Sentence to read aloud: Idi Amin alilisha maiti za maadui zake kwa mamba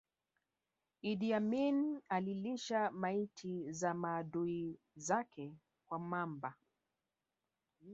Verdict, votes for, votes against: accepted, 3, 1